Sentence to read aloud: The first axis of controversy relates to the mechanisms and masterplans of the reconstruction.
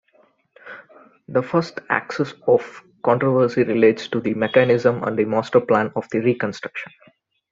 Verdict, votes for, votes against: rejected, 1, 2